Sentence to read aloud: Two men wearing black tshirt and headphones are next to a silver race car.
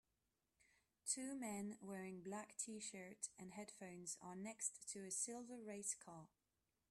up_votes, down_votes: 2, 0